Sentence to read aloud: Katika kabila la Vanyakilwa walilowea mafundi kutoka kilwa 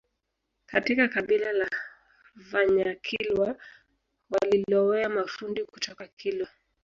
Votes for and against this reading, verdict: 2, 0, accepted